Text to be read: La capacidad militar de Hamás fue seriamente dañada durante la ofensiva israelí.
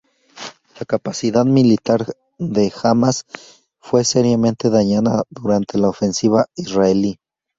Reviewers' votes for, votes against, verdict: 2, 0, accepted